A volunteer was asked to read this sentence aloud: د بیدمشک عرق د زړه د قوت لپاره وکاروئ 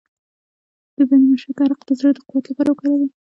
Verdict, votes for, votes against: rejected, 1, 2